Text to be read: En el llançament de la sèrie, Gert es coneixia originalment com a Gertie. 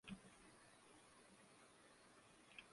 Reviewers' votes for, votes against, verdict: 0, 2, rejected